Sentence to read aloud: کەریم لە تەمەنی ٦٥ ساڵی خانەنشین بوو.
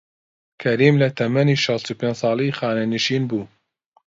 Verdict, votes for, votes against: rejected, 0, 2